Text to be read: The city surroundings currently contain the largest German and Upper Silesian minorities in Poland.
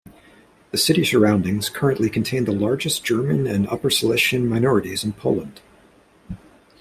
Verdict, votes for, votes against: accepted, 2, 0